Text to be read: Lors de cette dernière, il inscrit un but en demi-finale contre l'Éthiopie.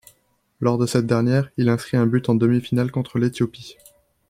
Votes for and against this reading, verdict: 3, 0, accepted